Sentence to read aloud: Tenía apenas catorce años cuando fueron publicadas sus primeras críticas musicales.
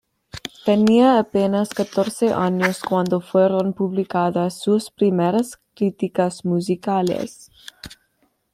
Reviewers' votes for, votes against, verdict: 2, 0, accepted